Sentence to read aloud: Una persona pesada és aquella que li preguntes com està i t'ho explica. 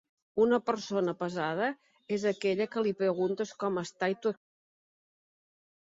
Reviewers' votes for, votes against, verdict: 0, 2, rejected